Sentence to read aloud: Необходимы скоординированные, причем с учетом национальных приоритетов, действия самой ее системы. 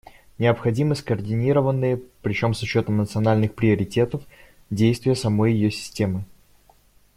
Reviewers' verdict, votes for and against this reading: accepted, 2, 0